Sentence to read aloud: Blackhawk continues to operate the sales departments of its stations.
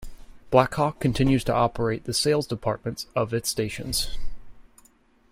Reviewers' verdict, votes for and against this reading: accepted, 2, 0